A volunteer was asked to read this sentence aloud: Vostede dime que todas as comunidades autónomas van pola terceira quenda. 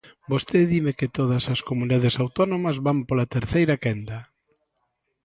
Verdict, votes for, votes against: accepted, 2, 0